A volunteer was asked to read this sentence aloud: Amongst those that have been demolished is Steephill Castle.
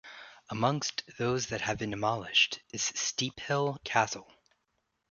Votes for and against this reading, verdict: 2, 0, accepted